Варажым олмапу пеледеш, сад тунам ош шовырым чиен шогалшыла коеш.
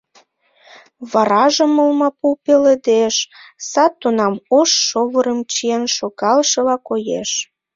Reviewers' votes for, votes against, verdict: 3, 0, accepted